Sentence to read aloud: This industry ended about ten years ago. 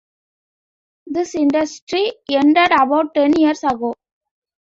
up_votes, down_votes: 2, 0